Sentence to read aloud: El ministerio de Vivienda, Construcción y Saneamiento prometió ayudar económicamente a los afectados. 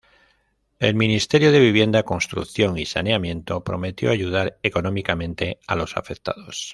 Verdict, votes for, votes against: accepted, 2, 0